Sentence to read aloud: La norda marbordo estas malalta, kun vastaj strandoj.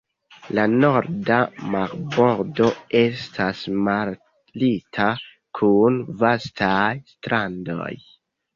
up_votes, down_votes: 2, 1